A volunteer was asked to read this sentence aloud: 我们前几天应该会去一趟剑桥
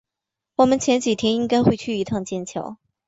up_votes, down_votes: 3, 0